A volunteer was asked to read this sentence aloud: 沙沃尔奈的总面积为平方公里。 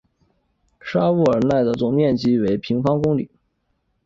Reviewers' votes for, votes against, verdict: 4, 1, accepted